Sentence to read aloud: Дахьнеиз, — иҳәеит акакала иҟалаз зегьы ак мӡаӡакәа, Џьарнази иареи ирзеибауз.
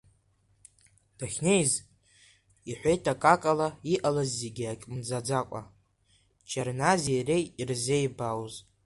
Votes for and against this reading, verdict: 0, 2, rejected